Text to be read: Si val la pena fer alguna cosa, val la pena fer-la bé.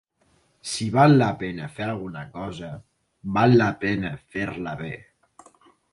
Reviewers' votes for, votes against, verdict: 4, 0, accepted